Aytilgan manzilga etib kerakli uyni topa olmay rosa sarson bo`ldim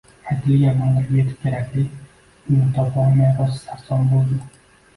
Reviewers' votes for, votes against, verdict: 0, 2, rejected